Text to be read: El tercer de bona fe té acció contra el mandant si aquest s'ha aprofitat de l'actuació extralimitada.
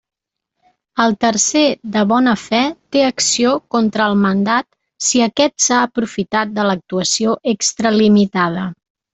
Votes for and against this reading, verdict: 0, 2, rejected